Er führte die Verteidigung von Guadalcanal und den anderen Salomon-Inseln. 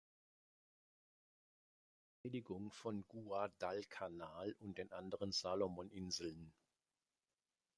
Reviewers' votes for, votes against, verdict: 0, 2, rejected